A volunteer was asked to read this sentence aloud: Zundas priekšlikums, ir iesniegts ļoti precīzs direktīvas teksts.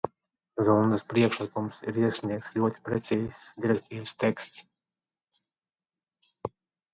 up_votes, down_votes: 1, 2